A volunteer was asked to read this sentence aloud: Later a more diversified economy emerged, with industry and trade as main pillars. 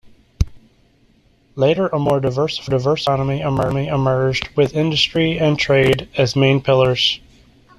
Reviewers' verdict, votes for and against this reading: rejected, 1, 2